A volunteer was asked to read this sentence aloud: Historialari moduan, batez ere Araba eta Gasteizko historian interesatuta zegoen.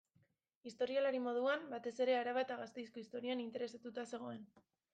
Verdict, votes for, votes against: rejected, 1, 2